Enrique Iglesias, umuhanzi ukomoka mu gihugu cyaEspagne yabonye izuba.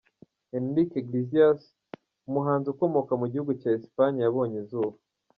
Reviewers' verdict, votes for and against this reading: accepted, 2, 1